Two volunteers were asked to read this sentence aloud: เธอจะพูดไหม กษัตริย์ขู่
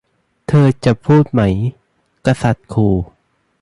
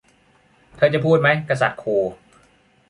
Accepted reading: first